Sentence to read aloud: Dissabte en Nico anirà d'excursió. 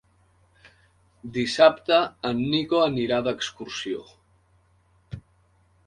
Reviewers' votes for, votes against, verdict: 3, 0, accepted